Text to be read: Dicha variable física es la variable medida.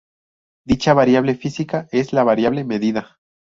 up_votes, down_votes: 2, 0